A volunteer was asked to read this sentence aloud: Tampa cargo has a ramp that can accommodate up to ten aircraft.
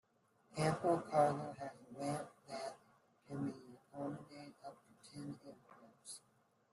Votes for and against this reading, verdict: 0, 2, rejected